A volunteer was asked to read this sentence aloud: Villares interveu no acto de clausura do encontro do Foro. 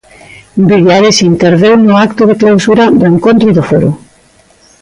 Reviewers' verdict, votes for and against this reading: rejected, 1, 2